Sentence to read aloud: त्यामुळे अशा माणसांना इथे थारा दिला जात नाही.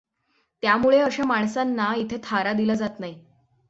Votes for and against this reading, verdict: 6, 0, accepted